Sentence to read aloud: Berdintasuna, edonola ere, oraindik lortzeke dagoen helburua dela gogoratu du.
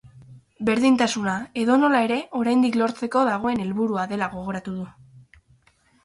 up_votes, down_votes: 0, 4